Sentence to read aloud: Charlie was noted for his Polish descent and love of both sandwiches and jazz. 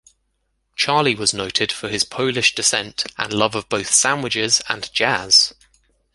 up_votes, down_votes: 2, 0